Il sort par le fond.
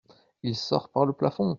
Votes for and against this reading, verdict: 0, 2, rejected